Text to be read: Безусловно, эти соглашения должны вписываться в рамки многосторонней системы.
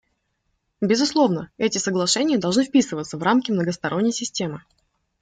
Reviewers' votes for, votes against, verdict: 2, 0, accepted